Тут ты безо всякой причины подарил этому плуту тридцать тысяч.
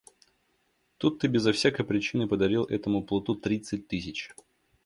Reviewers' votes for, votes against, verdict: 2, 1, accepted